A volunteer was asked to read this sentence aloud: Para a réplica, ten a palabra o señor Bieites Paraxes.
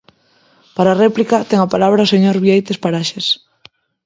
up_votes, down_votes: 2, 0